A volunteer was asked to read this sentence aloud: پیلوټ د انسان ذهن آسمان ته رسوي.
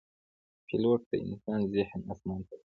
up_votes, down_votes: 0, 2